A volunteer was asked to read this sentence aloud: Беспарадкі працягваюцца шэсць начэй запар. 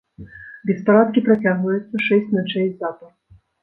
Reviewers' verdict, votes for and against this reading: accepted, 2, 0